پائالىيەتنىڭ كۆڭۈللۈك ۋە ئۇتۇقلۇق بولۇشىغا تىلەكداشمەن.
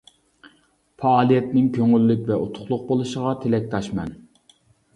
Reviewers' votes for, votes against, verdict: 2, 0, accepted